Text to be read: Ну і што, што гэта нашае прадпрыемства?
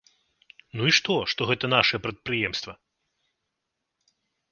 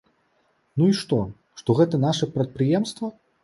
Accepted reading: first